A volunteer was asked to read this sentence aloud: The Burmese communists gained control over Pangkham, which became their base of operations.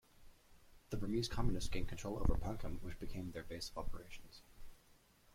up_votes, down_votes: 0, 2